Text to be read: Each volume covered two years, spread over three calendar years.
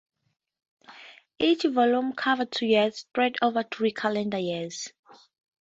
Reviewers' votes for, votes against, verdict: 2, 0, accepted